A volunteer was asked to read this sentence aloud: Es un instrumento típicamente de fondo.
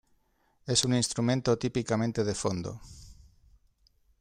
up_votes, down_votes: 2, 0